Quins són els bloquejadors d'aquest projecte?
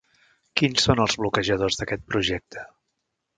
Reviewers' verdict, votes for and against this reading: accepted, 3, 0